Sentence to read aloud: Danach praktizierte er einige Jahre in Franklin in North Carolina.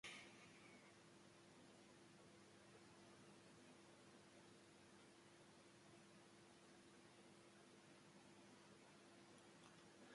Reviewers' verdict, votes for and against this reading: rejected, 0, 2